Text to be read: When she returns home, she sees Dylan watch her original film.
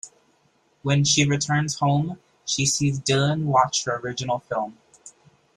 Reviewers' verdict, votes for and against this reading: accepted, 2, 0